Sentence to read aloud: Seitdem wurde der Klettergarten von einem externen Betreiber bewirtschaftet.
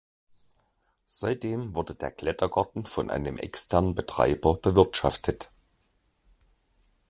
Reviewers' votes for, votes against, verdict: 1, 2, rejected